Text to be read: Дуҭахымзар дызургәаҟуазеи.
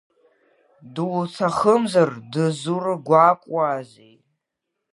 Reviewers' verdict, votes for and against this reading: rejected, 1, 2